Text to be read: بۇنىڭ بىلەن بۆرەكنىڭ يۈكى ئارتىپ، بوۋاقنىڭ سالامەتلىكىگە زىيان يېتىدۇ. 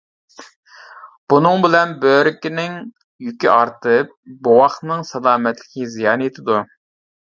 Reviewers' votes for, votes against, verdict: 0, 2, rejected